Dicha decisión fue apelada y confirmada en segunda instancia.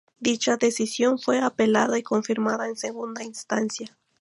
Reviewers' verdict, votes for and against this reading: accepted, 2, 0